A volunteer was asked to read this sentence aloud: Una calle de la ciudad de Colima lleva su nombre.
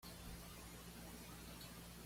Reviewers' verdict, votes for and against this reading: rejected, 1, 2